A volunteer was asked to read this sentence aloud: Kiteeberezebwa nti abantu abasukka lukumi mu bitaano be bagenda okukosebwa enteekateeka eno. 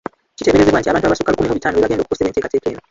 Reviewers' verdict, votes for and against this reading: rejected, 1, 3